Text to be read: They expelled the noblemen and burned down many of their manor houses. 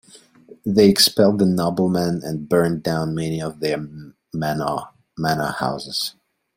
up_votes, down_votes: 0, 2